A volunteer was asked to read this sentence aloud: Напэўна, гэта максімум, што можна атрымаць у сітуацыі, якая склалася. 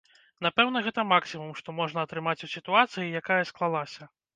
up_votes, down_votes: 1, 2